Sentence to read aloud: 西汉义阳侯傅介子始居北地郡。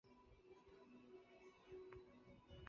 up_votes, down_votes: 0, 2